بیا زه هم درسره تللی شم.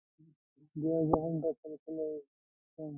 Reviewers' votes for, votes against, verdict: 1, 2, rejected